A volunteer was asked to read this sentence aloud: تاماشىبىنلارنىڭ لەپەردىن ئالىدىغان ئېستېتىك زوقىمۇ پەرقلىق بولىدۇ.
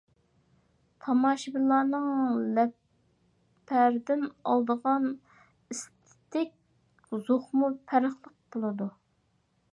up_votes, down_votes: 0, 2